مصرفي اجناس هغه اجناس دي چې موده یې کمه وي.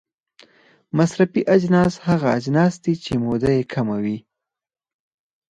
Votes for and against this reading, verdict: 2, 4, rejected